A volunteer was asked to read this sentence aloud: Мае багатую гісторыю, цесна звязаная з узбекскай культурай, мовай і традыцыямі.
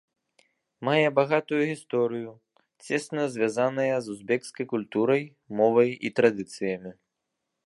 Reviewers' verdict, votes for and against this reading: accepted, 2, 0